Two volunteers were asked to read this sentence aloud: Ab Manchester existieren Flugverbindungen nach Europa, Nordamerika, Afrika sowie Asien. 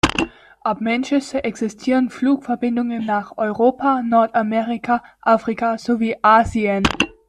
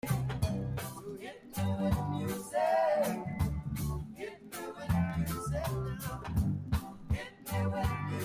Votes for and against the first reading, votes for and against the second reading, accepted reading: 2, 0, 0, 2, first